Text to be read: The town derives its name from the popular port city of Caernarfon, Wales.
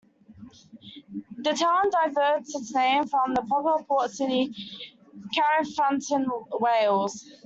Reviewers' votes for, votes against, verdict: 1, 2, rejected